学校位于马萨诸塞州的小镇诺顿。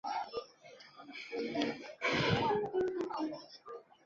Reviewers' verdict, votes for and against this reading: rejected, 0, 2